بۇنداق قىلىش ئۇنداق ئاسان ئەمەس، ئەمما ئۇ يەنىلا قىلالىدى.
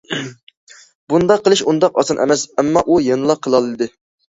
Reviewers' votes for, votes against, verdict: 2, 0, accepted